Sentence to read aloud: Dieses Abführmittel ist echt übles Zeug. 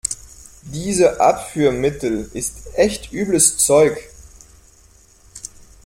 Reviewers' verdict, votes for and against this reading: rejected, 0, 2